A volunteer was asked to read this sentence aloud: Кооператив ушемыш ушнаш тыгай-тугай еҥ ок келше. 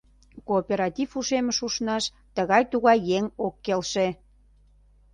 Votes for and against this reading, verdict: 2, 0, accepted